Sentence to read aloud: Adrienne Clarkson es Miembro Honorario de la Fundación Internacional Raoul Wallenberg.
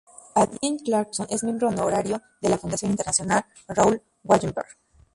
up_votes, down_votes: 0, 2